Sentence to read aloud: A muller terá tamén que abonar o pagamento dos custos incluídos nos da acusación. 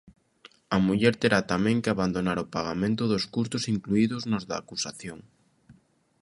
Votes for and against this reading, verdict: 0, 2, rejected